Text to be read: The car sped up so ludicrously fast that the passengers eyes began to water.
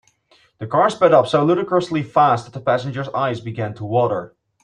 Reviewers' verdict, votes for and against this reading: accepted, 3, 0